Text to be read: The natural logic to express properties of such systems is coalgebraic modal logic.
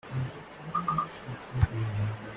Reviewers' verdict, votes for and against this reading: rejected, 0, 2